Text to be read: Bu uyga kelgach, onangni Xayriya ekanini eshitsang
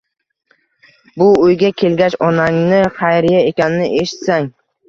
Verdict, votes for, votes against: rejected, 1, 2